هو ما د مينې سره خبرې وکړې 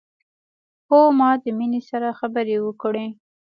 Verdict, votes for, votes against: accepted, 3, 0